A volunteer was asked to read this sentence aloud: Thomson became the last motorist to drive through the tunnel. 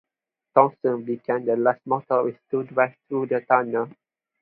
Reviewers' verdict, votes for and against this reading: accepted, 2, 0